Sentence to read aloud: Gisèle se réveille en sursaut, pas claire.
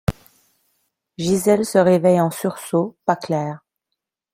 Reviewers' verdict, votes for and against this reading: accepted, 2, 0